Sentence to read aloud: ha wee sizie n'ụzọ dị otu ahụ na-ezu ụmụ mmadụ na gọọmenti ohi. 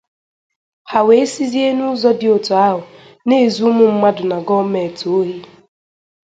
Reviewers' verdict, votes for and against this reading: accepted, 2, 0